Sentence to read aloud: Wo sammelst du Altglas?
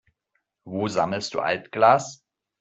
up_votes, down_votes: 2, 0